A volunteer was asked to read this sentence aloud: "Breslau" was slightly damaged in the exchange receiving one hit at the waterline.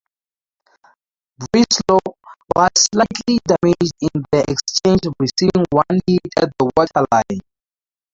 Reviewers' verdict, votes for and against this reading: accepted, 2, 0